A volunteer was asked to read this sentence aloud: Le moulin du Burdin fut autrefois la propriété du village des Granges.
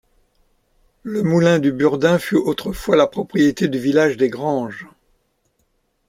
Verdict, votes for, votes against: accepted, 2, 0